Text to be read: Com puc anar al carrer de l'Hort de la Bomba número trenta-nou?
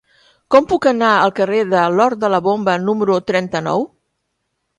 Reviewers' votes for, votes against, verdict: 2, 0, accepted